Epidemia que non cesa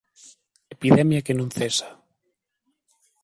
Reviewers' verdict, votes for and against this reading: accepted, 3, 0